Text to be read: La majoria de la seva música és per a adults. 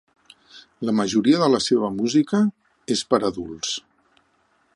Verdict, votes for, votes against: accepted, 2, 0